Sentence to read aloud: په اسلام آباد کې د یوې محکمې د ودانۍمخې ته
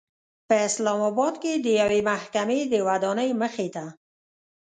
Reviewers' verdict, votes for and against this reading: rejected, 0, 2